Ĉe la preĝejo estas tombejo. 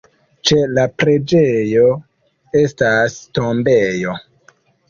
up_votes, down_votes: 2, 1